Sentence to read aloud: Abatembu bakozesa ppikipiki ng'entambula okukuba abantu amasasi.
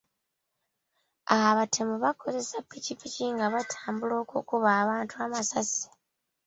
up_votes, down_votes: 0, 2